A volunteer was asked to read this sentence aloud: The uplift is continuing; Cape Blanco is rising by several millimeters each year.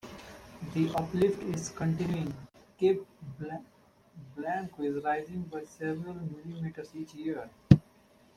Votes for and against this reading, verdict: 1, 2, rejected